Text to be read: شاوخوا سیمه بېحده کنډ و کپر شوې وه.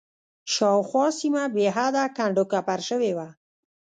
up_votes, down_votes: 2, 1